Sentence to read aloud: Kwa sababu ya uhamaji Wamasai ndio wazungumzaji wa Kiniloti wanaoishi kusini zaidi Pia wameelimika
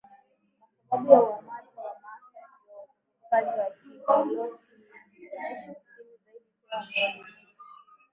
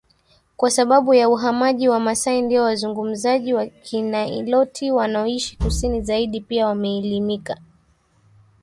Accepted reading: second